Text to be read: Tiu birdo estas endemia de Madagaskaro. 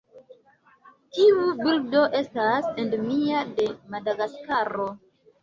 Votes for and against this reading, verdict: 2, 1, accepted